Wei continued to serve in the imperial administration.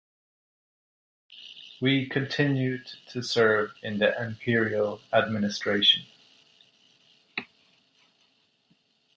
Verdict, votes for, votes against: accepted, 2, 1